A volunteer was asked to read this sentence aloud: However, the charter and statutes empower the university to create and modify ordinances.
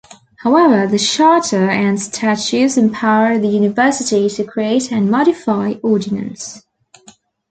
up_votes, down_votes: 1, 2